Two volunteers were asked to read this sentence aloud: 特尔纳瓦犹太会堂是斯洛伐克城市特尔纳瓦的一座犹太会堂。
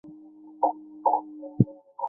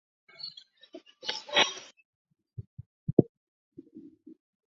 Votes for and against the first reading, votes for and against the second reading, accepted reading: 2, 1, 1, 3, first